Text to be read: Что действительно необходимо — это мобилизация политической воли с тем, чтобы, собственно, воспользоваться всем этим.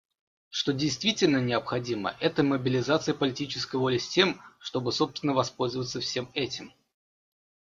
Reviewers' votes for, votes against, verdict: 2, 0, accepted